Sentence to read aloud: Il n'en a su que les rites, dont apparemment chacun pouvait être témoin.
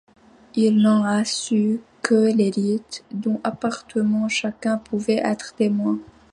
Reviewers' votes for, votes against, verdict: 0, 3, rejected